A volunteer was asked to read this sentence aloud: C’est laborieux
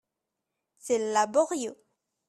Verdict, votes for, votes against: rejected, 1, 2